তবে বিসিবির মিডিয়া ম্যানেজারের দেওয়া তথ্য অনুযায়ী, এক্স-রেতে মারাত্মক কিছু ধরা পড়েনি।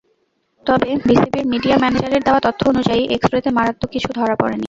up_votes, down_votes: 0, 2